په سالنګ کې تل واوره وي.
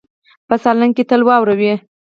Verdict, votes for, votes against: rejected, 2, 4